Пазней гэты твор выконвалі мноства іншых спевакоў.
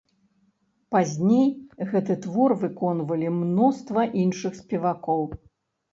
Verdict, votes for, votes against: rejected, 0, 2